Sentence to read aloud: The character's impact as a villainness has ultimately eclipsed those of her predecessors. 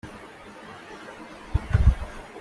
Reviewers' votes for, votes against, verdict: 0, 2, rejected